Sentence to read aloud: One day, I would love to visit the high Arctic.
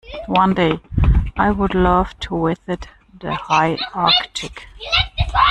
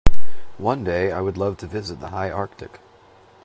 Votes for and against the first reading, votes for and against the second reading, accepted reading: 1, 2, 2, 0, second